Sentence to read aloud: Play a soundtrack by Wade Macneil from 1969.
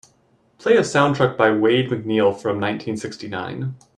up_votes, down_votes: 0, 2